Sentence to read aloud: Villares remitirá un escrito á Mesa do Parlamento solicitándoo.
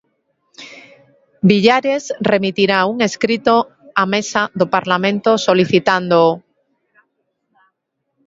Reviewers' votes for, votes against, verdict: 0, 2, rejected